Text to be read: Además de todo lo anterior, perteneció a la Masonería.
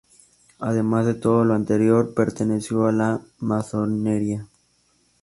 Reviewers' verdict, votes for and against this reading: rejected, 0, 2